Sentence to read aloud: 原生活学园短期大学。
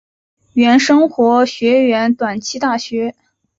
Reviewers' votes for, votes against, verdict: 1, 2, rejected